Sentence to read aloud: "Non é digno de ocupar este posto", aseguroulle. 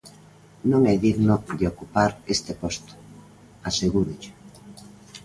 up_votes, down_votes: 0, 3